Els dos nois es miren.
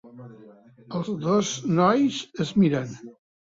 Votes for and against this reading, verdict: 1, 2, rejected